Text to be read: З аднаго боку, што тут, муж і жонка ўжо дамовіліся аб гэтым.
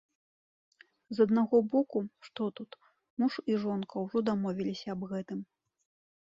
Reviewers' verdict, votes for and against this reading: accepted, 2, 0